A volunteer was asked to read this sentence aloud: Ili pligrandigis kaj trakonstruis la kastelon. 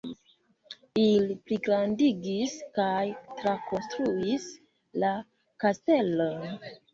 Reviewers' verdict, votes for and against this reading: accepted, 2, 0